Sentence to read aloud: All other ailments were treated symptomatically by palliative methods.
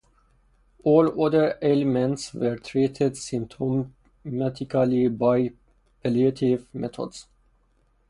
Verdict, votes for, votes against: rejected, 2, 2